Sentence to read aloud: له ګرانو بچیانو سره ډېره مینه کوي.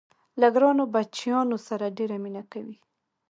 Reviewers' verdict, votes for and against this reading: accepted, 2, 0